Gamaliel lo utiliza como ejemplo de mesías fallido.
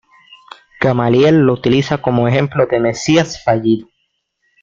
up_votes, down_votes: 1, 2